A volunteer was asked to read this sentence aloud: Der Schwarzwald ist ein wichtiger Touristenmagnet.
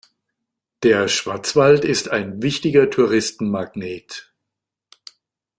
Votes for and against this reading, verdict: 2, 0, accepted